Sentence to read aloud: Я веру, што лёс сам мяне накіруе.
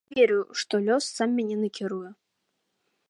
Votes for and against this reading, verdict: 1, 2, rejected